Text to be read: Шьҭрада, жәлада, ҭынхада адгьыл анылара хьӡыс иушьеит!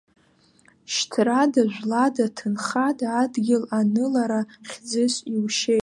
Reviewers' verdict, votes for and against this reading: accepted, 2, 0